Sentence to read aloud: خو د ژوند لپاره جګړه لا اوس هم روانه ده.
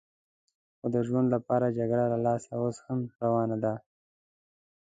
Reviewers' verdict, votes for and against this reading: rejected, 1, 2